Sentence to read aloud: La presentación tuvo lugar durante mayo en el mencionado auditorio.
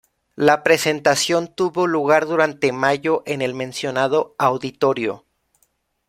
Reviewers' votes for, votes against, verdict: 2, 0, accepted